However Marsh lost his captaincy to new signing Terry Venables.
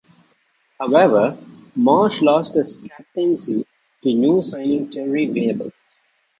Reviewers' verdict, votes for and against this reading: rejected, 0, 2